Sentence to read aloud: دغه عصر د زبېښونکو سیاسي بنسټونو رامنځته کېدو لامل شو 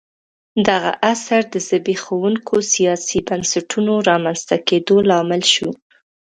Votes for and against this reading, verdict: 1, 2, rejected